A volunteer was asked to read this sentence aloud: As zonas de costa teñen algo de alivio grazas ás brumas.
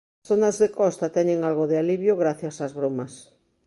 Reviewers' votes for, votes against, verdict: 0, 2, rejected